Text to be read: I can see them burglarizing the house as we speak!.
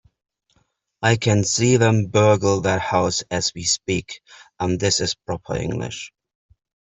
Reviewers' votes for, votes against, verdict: 0, 3, rejected